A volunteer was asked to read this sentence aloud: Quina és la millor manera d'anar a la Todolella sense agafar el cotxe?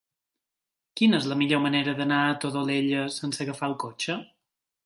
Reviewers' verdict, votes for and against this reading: rejected, 1, 3